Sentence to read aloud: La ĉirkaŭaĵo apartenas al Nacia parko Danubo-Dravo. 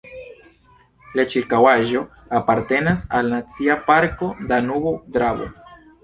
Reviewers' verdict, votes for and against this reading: rejected, 1, 2